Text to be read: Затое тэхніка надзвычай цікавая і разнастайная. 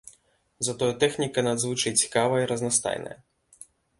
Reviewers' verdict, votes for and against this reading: accepted, 2, 0